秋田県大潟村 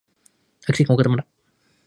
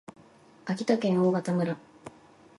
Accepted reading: second